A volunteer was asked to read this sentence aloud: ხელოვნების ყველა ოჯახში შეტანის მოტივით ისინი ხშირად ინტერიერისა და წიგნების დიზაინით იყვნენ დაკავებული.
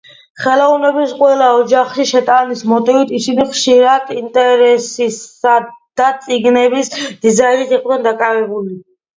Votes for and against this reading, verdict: 1, 2, rejected